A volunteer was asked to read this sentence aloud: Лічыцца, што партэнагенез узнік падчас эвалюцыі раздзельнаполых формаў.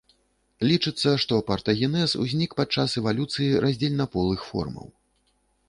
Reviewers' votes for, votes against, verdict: 0, 2, rejected